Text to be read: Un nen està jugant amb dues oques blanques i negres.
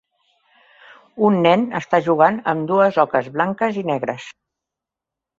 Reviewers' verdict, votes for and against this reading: accepted, 3, 0